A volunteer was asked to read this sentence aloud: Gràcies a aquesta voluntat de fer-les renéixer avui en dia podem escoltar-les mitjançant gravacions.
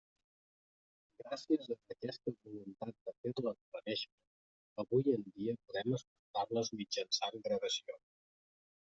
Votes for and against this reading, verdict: 0, 2, rejected